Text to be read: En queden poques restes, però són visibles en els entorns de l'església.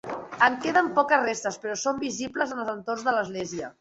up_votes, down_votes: 2, 0